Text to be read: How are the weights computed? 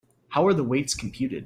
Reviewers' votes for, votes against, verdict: 2, 0, accepted